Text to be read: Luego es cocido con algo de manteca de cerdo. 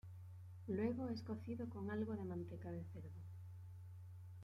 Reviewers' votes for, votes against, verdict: 1, 2, rejected